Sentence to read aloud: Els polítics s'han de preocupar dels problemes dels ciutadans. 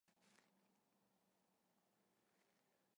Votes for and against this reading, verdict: 0, 2, rejected